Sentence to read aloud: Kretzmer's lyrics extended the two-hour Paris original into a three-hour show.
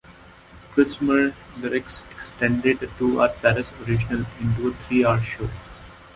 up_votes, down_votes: 1, 2